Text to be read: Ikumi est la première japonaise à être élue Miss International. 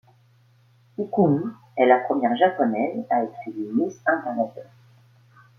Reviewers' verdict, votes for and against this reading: rejected, 1, 2